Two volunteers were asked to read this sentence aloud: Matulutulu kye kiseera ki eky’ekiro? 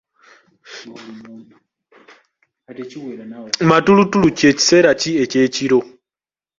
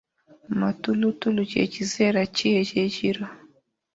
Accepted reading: second